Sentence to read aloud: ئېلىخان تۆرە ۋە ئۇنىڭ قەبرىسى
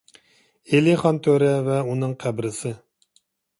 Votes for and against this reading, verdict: 2, 0, accepted